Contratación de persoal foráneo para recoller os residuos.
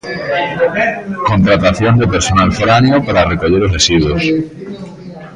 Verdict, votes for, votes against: rejected, 0, 2